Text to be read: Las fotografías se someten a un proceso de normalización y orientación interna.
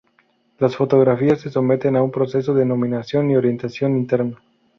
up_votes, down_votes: 0, 4